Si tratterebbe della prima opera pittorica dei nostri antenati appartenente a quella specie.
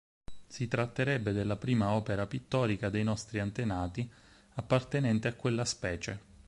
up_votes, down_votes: 4, 0